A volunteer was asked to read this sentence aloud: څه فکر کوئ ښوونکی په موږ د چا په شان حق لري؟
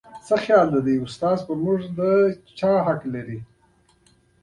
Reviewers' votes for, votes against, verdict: 1, 2, rejected